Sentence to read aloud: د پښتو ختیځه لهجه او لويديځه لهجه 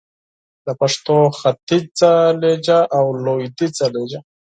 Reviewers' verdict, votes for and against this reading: accepted, 4, 2